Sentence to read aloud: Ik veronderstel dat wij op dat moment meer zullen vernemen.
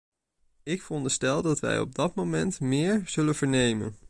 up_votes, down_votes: 2, 0